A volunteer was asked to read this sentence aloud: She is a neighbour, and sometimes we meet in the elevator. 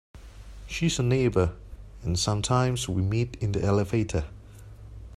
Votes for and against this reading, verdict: 2, 0, accepted